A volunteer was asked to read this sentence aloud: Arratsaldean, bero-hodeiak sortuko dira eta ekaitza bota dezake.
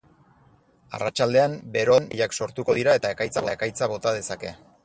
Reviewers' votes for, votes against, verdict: 0, 2, rejected